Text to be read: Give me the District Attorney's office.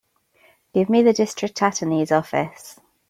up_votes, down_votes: 0, 2